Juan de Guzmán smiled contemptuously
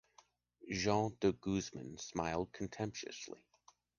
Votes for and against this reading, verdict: 3, 4, rejected